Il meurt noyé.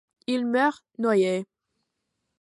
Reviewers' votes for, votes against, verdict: 2, 0, accepted